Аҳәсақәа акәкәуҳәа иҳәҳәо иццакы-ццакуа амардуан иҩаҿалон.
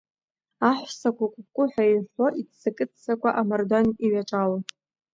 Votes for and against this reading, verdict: 2, 0, accepted